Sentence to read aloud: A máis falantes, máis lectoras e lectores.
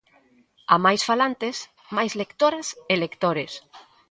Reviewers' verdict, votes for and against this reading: rejected, 0, 2